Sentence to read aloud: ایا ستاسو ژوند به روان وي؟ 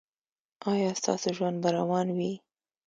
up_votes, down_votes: 2, 0